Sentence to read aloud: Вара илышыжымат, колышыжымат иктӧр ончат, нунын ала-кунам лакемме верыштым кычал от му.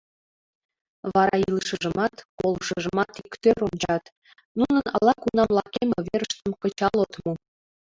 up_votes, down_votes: 2, 3